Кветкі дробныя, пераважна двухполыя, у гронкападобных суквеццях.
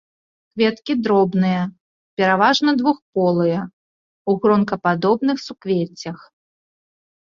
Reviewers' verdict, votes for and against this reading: accepted, 2, 0